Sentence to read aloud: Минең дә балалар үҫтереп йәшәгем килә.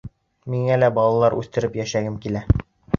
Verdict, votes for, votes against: rejected, 1, 2